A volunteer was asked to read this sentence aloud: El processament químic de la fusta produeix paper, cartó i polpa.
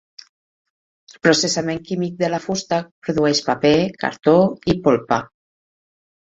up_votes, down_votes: 0, 4